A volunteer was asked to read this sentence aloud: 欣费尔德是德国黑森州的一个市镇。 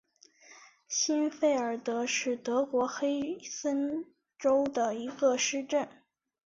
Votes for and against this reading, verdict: 5, 0, accepted